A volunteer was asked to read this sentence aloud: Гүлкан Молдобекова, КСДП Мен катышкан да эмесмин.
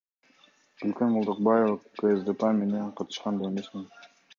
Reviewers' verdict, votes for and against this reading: accepted, 2, 0